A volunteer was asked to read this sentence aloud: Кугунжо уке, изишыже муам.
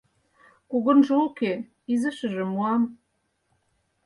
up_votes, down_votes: 4, 0